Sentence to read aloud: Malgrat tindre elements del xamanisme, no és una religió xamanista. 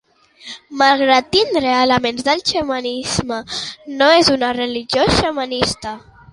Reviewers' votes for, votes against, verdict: 2, 0, accepted